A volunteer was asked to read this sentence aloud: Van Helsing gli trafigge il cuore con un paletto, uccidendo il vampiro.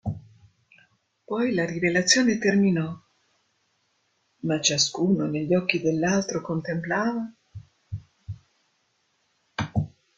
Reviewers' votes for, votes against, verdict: 0, 2, rejected